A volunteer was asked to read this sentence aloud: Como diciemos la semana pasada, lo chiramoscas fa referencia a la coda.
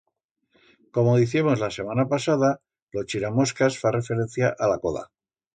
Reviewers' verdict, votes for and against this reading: accepted, 2, 0